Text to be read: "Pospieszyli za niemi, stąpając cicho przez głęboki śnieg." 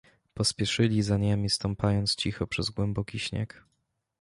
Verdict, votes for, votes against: accepted, 2, 0